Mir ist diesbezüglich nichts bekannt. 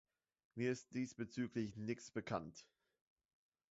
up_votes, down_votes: 0, 3